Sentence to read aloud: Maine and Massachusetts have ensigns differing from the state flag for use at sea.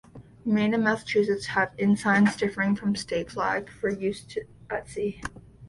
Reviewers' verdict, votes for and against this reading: rejected, 0, 2